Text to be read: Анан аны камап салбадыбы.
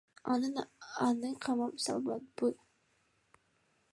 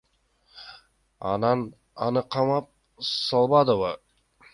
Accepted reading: second